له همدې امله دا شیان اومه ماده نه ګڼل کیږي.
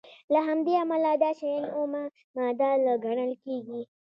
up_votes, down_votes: 2, 0